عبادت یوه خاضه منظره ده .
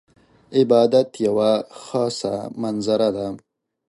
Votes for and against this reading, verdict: 1, 2, rejected